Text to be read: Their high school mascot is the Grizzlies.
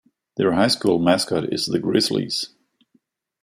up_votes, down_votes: 2, 0